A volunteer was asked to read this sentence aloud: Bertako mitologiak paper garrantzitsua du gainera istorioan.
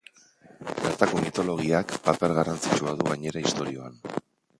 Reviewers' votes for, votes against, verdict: 2, 0, accepted